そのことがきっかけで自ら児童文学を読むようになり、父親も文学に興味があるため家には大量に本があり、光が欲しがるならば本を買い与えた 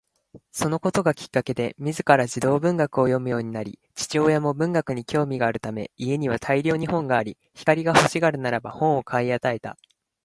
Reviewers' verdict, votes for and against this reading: accepted, 2, 0